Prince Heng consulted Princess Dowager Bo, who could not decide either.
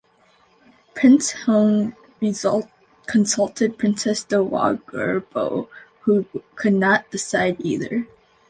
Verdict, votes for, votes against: rejected, 1, 2